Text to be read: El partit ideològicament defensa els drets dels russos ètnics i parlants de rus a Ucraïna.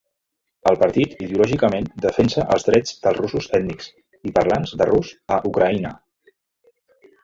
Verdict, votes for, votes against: accepted, 2, 0